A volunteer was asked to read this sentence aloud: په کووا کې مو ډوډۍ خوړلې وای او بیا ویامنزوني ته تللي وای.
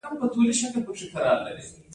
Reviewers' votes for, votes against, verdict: 1, 2, rejected